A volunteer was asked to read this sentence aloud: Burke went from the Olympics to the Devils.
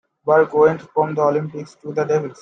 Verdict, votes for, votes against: accepted, 2, 1